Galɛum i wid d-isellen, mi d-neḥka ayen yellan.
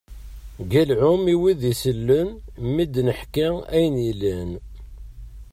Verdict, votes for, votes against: rejected, 1, 2